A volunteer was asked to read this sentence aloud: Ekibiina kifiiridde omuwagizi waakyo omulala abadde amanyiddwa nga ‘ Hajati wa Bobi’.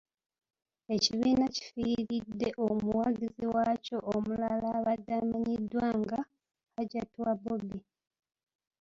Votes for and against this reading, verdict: 2, 0, accepted